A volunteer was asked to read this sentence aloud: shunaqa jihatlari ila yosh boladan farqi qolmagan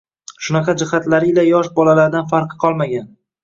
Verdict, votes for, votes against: accepted, 2, 0